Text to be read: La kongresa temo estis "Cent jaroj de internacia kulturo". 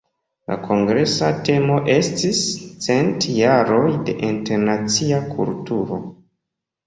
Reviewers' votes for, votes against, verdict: 2, 0, accepted